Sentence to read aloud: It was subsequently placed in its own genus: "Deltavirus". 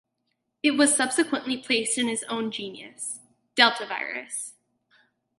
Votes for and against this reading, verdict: 0, 2, rejected